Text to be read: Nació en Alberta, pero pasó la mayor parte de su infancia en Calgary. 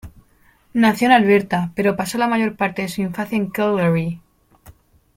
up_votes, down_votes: 2, 0